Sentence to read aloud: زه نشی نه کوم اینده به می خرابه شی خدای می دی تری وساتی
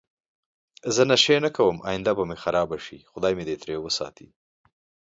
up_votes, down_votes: 2, 0